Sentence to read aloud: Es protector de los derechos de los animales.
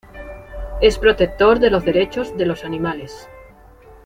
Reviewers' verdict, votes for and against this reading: accepted, 2, 0